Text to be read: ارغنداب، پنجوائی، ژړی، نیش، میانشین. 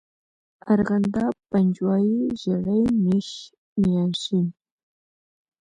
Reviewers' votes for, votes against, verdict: 2, 0, accepted